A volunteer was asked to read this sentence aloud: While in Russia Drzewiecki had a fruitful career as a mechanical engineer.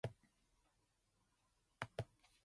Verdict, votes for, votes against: rejected, 0, 2